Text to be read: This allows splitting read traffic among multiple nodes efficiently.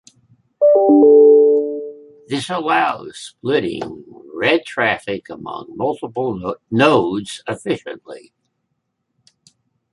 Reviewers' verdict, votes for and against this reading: rejected, 0, 2